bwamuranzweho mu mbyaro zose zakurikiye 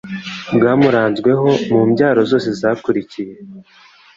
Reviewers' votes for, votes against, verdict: 3, 1, accepted